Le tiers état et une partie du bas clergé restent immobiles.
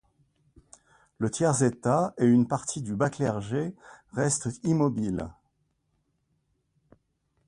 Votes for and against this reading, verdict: 2, 0, accepted